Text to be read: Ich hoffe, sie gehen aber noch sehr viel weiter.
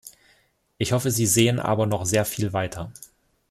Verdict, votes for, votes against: rejected, 0, 2